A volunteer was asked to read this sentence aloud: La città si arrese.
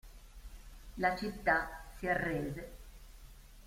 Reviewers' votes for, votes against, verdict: 2, 0, accepted